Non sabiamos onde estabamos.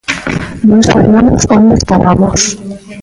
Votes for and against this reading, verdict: 0, 2, rejected